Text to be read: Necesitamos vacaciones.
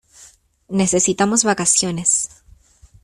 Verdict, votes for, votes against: accepted, 2, 0